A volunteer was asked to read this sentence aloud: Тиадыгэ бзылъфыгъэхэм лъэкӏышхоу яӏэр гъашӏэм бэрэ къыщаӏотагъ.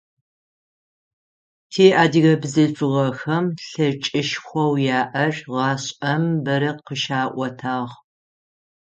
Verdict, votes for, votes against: rejected, 3, 6